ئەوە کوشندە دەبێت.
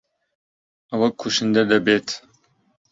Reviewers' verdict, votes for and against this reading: accepted, 3, 0